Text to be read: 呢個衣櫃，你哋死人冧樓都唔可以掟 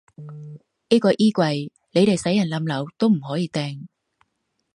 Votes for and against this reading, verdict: 1, 2, rejected